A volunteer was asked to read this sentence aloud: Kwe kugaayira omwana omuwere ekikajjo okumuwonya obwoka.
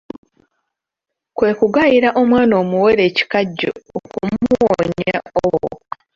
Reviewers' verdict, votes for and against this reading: rejected, 0, 2